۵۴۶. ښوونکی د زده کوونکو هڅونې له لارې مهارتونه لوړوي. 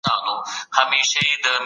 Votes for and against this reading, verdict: 0, 2, rejected